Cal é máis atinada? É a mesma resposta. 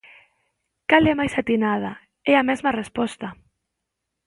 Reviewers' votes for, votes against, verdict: 2, 0, accepted